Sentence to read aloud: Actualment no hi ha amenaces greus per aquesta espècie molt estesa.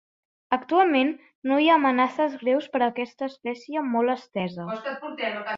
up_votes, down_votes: 1, 2